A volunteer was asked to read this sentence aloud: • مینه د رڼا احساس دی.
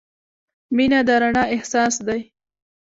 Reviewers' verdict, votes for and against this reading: accepted, 2, 1